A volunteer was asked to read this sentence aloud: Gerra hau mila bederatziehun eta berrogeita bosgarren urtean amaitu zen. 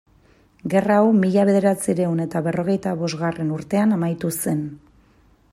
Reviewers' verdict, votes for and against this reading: accepted, 2, 0